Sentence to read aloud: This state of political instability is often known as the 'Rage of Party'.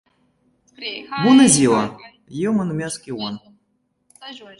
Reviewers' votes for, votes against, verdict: 0, 2, rejected